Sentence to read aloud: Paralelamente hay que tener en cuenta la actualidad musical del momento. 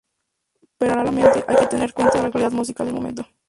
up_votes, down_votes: 0, 2